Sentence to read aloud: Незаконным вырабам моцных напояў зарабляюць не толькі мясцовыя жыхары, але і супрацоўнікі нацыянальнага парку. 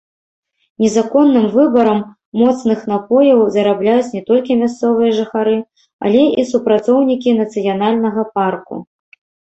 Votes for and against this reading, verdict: 0, 2, rejected